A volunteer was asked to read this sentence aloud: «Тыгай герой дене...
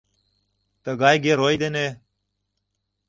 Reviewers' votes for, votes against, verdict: 2, 0, accepted